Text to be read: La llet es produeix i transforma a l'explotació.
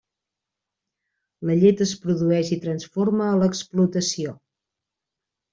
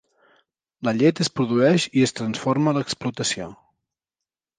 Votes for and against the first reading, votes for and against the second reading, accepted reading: 3, 0, 1, 2, first